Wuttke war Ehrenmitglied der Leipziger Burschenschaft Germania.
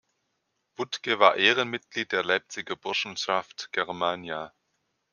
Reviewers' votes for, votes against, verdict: 2, 0, accepted